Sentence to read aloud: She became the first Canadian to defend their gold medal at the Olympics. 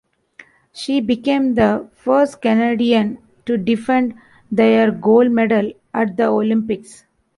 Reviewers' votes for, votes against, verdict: 1, 2, rejected